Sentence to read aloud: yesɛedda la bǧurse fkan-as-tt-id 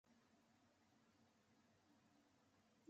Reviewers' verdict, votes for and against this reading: rejected, 0, 2